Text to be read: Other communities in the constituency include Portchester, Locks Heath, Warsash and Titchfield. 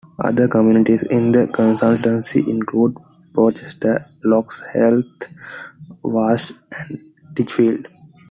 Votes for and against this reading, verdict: 1, 2, rejected